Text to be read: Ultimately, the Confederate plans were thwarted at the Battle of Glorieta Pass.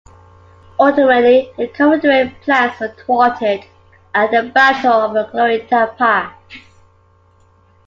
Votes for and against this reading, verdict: 2, 1, accepted